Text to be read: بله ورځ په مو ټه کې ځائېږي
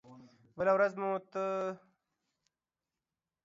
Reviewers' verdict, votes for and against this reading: rejected, 0, 2